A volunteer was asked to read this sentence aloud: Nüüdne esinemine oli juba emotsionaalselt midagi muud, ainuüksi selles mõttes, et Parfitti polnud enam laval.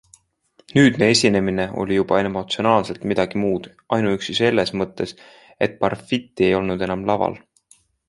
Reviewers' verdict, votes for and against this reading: accepted, 2, 0